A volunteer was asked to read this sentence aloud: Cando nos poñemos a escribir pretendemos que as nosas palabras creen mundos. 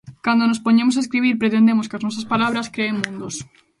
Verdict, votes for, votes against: accepted, 2, 0